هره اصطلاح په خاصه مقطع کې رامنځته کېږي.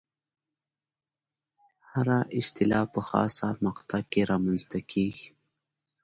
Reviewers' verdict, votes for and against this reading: accepted, 2, 0